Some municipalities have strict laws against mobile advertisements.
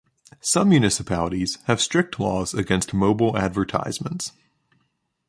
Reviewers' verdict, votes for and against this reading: accepted, 2, 0